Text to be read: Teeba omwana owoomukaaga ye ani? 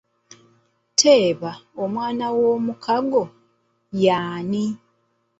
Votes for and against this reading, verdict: 0, 2, rejected